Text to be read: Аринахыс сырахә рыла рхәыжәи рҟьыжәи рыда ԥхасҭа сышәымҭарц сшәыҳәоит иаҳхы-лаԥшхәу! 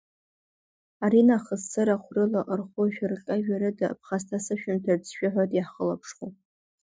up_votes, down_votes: 1, 2